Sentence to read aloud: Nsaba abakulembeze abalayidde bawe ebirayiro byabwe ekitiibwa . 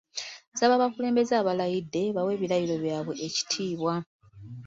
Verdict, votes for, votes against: accepted, 2, 0